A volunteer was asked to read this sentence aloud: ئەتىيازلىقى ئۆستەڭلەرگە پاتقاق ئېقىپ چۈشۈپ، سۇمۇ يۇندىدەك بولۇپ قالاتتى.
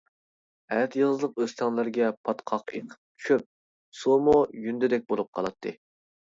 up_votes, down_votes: 0, 2